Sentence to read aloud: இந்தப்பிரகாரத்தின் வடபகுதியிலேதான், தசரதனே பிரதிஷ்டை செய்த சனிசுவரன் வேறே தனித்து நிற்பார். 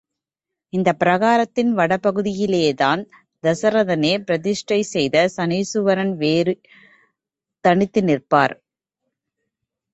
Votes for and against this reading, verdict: 0, 2, rejected